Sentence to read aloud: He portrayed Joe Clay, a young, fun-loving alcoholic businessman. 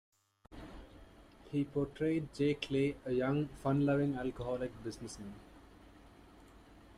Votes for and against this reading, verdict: 1, 2, rejected